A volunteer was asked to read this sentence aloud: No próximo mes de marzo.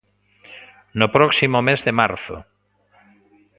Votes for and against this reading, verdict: 2, 0, accepted